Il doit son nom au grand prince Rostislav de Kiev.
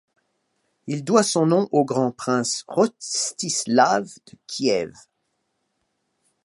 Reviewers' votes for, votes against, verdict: 0, 2, rejected